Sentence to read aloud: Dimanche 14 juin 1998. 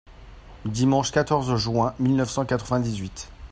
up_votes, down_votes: 0, 2